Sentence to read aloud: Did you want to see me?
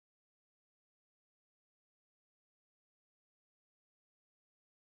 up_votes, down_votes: 0, 2